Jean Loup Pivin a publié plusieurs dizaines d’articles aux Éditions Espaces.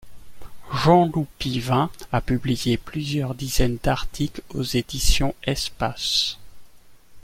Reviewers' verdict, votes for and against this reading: accepted, 2, 0